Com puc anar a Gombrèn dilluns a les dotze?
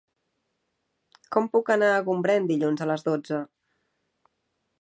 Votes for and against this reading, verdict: 3, 0, accepted